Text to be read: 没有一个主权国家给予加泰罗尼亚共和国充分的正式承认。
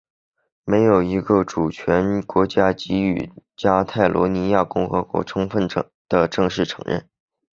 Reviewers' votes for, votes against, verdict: 2, 1, accepted